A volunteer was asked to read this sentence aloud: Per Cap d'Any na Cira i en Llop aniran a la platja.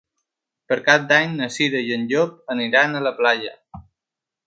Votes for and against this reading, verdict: 0, 3, rejected